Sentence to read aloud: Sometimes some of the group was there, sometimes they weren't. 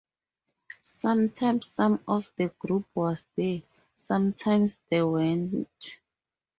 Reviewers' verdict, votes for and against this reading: accepted, 2, 0